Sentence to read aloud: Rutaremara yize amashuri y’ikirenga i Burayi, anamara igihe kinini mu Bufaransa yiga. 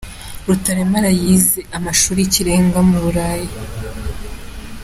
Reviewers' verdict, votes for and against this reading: rejected, 0, 2